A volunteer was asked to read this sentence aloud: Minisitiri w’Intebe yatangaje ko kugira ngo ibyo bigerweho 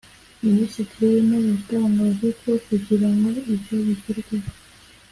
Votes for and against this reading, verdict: 2, 0, accepted